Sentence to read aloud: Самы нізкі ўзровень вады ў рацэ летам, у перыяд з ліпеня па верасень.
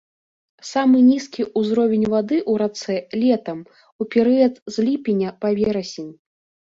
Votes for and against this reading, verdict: 2, 0, accepted